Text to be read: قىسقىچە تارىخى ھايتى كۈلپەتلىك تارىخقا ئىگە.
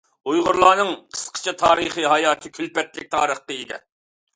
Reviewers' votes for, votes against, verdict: 0, 2, rejected